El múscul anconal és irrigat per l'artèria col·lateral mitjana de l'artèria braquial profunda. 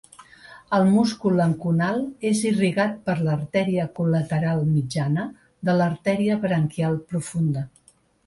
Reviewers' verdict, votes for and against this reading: accepted, 2, 1